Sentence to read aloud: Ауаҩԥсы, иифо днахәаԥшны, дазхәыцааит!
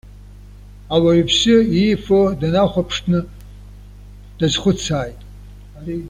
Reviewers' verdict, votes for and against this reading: rejected, 1, 2